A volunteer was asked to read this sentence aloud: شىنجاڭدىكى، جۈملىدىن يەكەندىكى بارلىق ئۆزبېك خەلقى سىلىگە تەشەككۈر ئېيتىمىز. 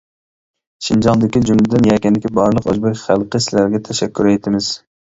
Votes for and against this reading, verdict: 1, 2, rejected